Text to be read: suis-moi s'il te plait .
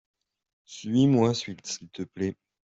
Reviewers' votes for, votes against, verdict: 0, 2, rejected